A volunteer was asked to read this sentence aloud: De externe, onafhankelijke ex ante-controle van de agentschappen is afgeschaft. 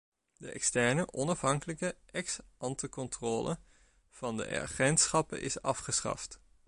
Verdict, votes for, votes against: rejected, 1, 2